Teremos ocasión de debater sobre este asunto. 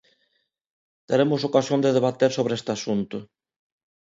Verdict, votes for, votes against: accepted, 2, 0